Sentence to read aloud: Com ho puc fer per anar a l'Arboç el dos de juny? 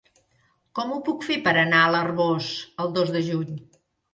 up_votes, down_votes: 2, 0